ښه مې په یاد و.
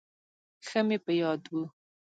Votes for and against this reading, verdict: 2, 1, accepted